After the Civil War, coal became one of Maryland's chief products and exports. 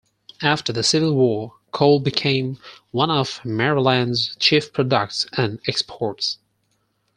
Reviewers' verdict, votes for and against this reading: rejected, 2, 4